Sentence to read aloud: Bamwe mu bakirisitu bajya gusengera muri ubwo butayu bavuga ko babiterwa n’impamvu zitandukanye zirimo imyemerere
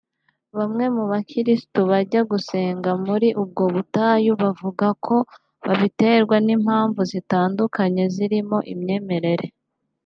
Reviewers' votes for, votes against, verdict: 2, 0, accepted